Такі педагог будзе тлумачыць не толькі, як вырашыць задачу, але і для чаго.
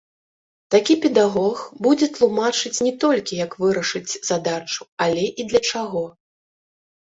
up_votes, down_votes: 1, 2